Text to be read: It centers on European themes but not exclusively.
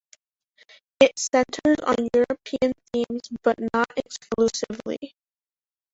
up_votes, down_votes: 1, 2